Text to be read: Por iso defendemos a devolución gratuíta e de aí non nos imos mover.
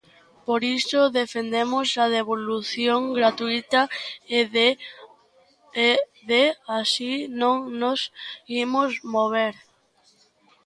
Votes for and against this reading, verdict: 0, 2, rejected